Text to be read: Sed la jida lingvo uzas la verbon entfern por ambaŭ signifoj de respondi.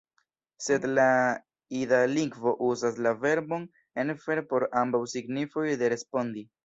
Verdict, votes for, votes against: rejected, 1, 2